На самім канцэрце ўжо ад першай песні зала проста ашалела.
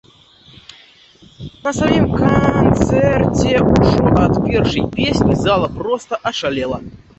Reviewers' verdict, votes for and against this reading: rejected, 0, 2